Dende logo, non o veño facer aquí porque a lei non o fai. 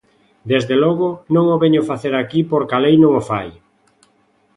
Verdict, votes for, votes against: rejected, 0, 2